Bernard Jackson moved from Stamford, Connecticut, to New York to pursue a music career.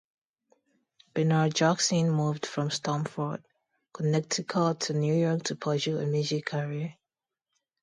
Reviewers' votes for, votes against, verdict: 2, 2, rejected